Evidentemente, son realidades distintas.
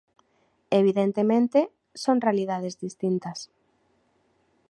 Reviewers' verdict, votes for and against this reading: rejected, 1, 2